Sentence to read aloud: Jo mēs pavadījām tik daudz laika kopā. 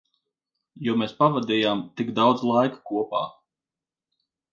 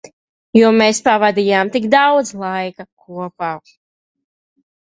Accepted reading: first